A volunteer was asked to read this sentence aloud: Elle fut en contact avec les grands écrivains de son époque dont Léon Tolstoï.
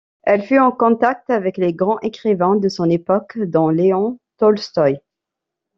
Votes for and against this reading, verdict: 2, 1, accepted